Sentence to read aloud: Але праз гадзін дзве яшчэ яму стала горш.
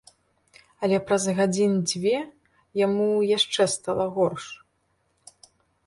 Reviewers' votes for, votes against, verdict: 0, 3, rejected